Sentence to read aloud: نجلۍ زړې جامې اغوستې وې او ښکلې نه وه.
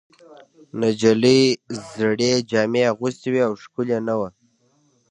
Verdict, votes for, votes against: accepted, 2, 1